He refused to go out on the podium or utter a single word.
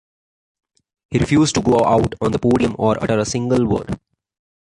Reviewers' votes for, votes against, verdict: 2, 1, accepted